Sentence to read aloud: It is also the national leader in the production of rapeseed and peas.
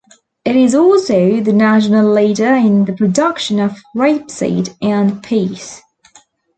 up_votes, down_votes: 2, 0